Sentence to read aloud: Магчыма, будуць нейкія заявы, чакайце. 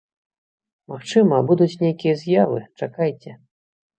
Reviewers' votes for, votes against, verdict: 0, 2, rejected